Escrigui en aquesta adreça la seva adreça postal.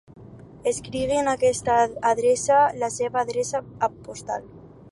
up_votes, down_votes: 2, 6